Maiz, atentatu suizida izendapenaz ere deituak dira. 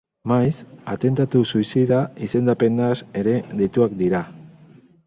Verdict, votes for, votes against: accepted, 4, 0